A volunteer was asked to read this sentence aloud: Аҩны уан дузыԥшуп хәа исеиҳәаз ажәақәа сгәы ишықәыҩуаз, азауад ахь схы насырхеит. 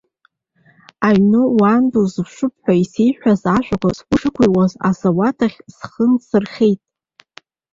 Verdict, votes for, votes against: rejected, 0, 2